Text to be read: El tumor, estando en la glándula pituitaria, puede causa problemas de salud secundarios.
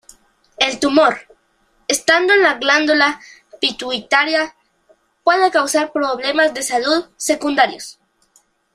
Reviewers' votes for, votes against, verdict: 0, 2, rejected